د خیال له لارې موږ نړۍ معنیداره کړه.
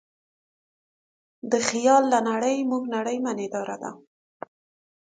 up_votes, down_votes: 1, 2